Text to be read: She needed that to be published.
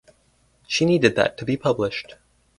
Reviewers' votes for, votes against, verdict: 2, 2, rejected